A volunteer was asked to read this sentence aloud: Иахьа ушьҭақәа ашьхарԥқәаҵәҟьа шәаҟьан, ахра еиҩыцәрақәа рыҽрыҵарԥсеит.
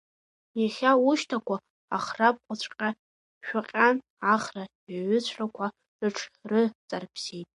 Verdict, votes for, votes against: rejected, 1, 2